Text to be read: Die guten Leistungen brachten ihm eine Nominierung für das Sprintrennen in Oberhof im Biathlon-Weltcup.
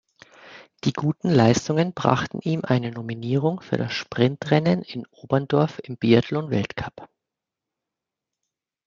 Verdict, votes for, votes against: rejected, 1, 2